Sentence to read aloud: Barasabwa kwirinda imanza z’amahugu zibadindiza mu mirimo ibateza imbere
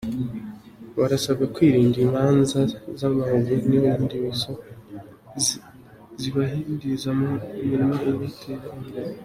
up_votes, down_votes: 0, 2